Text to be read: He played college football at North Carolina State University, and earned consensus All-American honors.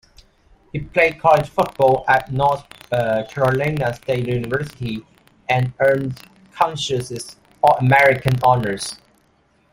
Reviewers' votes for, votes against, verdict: 1, 2, rejected